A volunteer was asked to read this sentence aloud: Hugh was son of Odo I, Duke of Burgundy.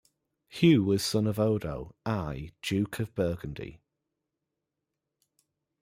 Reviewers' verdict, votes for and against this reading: rejected, 0, 2